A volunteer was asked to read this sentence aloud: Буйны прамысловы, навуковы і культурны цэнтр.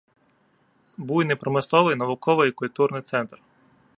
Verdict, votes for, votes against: rejected, 0, 2